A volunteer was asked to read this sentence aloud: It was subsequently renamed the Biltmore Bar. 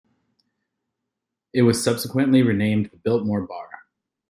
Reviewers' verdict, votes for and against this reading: rejected, 0, 2